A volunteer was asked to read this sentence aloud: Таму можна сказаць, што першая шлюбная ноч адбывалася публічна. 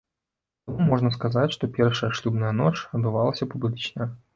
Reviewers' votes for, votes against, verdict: 0, 2, rejected